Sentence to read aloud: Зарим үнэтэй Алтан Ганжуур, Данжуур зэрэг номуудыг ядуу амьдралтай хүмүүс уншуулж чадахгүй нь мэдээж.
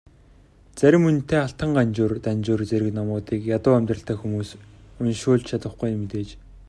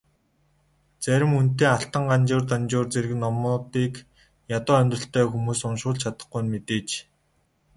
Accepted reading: first